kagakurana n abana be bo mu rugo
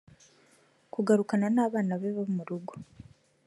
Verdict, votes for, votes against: accepted, 2, 0